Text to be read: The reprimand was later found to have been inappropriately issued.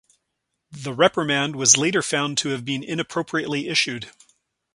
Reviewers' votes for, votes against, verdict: 4, 0, accepted